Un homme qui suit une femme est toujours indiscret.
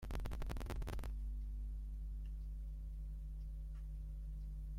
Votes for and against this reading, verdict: 0, 2, rejected